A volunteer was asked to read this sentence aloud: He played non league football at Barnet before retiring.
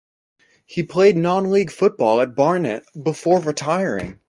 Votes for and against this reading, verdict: 2, 0, accepted